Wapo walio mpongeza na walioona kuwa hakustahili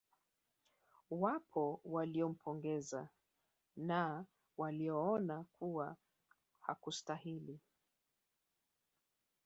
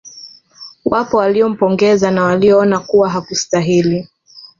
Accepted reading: second